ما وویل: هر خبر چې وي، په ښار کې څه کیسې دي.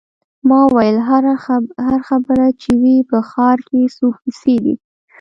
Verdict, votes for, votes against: accepted, 2, 0